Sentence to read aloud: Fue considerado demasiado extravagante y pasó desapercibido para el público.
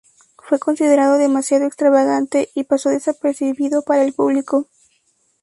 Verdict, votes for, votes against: accepted, 2, 0